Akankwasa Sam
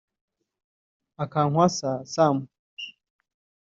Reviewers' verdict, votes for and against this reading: rejected, 0, 2